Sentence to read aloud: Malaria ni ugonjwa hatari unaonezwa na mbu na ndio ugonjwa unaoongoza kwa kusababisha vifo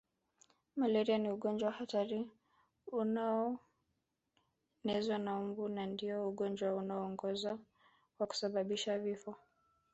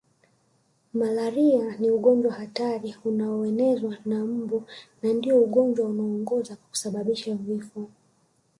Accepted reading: first